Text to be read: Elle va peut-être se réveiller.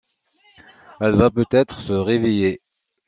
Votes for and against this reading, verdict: 2, 1, accepted